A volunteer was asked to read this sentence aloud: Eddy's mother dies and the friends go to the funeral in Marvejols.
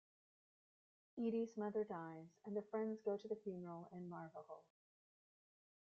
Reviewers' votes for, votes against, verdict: 1, 2, rejected